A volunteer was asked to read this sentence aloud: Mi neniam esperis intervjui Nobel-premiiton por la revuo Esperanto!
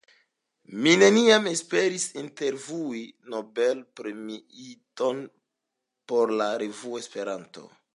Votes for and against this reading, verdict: 2, 0, accepted